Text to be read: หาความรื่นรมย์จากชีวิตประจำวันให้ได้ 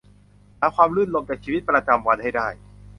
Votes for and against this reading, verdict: 1, 2, rejected